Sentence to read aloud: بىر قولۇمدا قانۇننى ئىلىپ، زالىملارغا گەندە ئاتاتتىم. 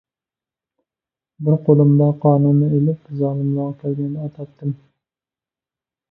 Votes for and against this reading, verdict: 0, 2, rejected